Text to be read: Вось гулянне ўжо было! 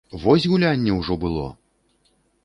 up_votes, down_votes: 2, 0